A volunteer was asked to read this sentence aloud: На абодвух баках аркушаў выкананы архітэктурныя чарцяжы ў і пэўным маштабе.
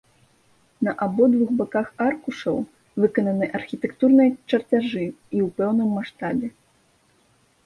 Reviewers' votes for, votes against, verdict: 1, 2, rejected